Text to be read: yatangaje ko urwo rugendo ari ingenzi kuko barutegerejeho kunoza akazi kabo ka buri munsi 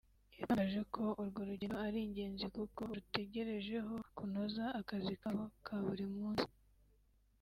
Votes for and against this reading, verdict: 1, 2, rejected